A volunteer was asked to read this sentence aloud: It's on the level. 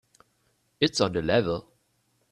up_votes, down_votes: 3, 0